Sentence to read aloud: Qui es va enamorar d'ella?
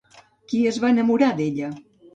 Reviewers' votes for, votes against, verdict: 2, 0, accepted